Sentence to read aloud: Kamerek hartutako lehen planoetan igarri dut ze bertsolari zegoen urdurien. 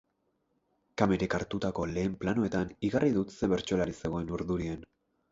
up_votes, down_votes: 4, 2